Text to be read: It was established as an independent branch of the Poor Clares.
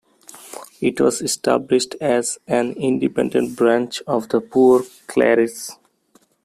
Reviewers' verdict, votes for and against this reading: rejected, 1, 2